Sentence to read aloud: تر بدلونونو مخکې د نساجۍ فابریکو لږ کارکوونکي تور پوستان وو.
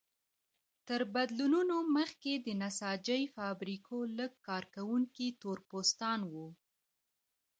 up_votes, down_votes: 2, 1